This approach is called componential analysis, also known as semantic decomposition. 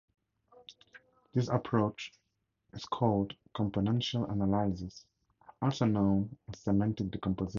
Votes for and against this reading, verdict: 0, 2, rejected